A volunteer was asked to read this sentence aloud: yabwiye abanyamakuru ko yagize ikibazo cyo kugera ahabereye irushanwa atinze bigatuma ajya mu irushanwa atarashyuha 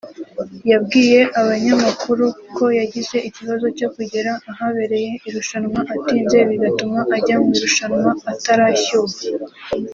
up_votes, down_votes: 1, 2